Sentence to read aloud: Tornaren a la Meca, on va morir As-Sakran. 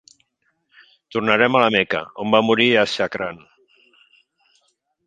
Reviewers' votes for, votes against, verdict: 1, 2, rejected